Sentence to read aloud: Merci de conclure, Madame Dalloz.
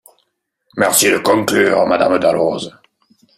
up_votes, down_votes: 3, 0